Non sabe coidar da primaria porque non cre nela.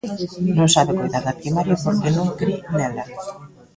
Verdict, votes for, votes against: rejected, 1, 2